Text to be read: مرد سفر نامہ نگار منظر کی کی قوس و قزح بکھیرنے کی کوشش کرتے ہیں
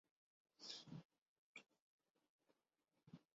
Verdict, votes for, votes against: rejected, 2, 4